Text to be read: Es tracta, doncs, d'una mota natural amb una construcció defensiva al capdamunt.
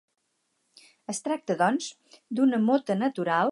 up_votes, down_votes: 0, 4